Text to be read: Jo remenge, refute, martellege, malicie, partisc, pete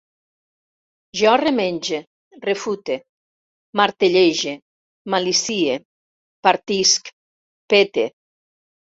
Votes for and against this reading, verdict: 3, 0, accepted